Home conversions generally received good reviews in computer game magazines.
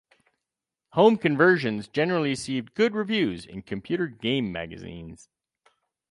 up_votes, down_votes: 2, 0